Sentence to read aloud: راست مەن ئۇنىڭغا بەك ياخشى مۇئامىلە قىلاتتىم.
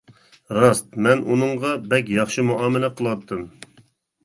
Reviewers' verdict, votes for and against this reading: accepted, 2, 0